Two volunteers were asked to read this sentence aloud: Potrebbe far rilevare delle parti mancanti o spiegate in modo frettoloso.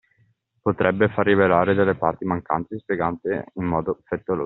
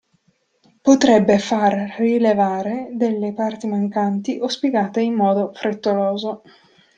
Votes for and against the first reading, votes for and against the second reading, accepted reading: 0, 2, 2, 0, second